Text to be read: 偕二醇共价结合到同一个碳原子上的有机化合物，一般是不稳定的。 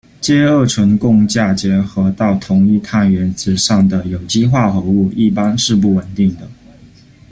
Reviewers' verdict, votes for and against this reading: rejected, 0, 2